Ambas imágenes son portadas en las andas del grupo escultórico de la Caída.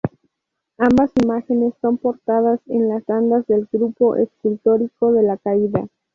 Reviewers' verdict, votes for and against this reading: accepted, 2, 0